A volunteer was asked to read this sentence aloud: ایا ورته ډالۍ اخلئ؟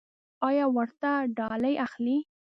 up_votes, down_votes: 2, 0